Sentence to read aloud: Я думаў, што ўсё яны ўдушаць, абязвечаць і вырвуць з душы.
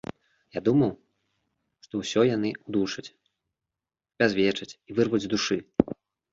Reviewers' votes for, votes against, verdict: 1, 2, rejected